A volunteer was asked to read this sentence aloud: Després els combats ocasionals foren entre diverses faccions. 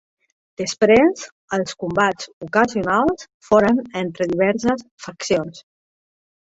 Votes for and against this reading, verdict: 2, 0, accepted